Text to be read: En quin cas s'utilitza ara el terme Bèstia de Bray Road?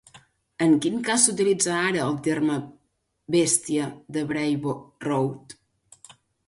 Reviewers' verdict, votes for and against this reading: rejected, 1, 2